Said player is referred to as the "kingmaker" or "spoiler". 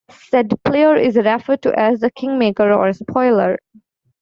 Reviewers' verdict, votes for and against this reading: accepted, 2, 0